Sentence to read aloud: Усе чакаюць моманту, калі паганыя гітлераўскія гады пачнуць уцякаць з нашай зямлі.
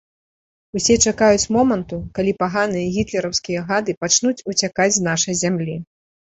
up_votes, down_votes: 2, 0